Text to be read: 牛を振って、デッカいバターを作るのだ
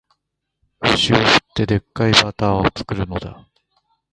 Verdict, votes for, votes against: rejected, 1, 2